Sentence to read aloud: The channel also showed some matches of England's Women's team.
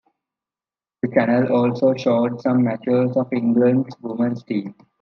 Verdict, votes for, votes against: rejected, 1, 2